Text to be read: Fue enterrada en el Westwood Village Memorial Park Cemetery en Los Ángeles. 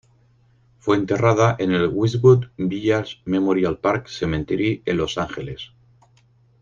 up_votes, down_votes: 2, 4